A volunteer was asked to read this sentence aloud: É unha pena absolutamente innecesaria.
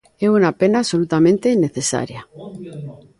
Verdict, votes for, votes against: rejected, 0, 2